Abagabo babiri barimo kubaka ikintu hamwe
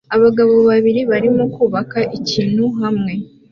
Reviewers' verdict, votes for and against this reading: accepted, 2, 0